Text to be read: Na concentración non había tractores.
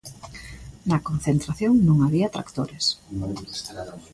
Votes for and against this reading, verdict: 1, 2, rejected